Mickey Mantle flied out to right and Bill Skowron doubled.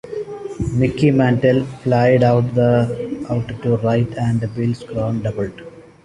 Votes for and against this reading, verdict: 1, 2, rejected